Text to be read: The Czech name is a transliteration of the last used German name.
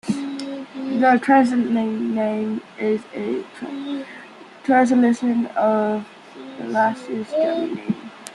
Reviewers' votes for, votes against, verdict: 0, 2, rejected